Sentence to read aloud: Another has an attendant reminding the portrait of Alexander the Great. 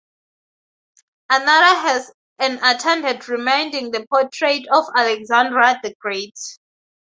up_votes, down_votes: 0, 4